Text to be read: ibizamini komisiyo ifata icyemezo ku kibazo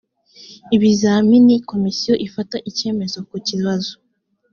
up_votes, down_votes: 2, 0